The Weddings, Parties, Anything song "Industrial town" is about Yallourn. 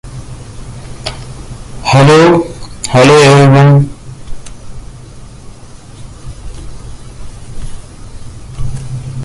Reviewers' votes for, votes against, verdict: 0, 2, rejected